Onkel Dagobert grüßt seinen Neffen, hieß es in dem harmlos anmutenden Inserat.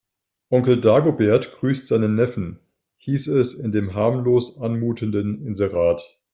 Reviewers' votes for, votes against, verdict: 2, 0, accepted